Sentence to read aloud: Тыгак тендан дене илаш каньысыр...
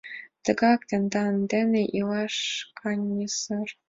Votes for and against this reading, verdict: 2, 0, accepted